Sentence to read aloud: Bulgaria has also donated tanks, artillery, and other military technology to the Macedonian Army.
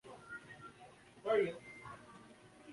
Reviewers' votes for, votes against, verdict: 0, 2, rejected